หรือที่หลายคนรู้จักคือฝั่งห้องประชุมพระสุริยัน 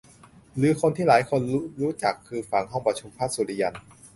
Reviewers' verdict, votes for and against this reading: rejected, 0, 2